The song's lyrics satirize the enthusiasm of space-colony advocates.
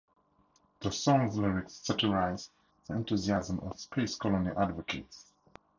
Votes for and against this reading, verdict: 0, 2, rejected